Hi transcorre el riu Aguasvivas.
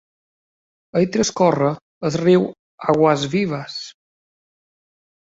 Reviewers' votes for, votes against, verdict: 0, 2, rejected